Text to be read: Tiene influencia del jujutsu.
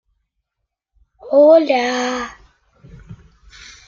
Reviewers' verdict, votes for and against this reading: rejected, 0, 2